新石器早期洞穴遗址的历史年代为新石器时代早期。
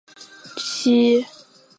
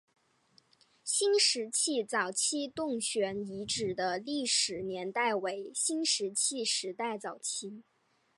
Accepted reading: second